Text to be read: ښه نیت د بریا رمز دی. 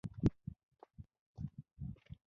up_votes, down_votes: 0, 2